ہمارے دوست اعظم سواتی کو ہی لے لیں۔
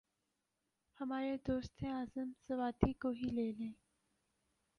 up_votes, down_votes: 4, 0